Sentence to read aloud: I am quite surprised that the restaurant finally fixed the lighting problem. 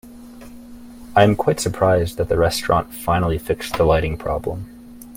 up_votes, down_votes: 1, 2